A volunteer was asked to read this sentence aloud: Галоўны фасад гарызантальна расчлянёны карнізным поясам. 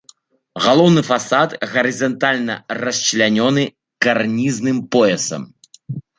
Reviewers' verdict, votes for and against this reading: rejected, 1, 2